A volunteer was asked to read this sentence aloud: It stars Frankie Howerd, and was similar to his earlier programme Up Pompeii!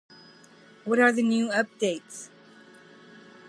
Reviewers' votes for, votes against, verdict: 0, 2, rejected